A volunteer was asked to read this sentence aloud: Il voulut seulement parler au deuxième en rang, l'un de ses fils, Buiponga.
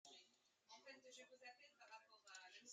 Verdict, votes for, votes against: rejected, 1, 2